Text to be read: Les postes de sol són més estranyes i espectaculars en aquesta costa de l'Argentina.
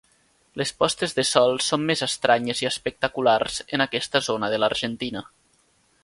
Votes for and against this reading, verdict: 0, 2, rejected